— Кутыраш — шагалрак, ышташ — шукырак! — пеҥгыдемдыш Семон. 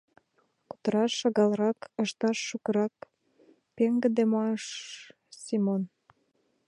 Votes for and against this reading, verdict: 0, 2, rejected